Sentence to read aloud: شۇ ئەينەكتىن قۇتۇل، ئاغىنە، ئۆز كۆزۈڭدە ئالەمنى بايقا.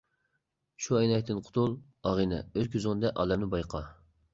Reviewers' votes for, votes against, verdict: 2, 0, accepted